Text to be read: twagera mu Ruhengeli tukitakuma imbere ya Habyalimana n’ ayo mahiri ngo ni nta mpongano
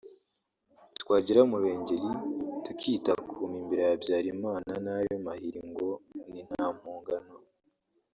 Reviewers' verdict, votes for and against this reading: accepted, 3, 0